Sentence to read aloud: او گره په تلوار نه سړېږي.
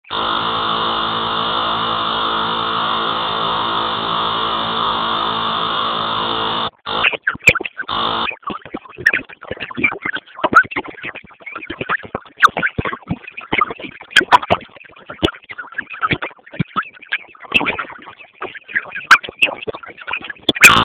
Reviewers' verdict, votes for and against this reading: rejected, 0, 2